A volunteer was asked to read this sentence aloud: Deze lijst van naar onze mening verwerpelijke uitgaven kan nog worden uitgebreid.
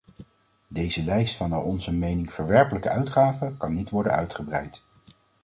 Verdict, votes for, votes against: rejected, 1, 2